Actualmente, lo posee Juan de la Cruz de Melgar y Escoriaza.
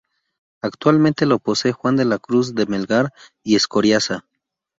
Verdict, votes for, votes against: rejected, 2, 2